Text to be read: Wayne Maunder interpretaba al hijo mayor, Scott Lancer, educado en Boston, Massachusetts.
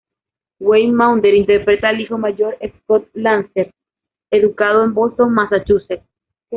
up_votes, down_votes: 0, 2